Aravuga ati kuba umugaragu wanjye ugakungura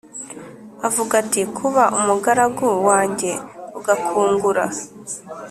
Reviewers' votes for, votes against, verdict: 1, 2, rejected